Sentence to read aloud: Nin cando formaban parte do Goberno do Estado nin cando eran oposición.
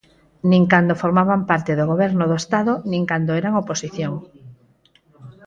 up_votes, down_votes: 4, 2